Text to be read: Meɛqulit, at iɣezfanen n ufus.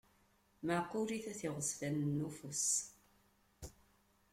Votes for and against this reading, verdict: 2, 1, accepted